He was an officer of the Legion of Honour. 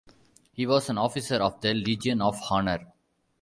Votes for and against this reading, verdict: 0, 2, rejected